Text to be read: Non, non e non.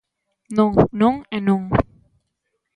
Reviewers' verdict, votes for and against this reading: accepted, 2, 0